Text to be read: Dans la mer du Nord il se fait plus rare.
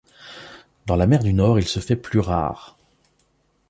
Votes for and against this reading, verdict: 2, 0, accepted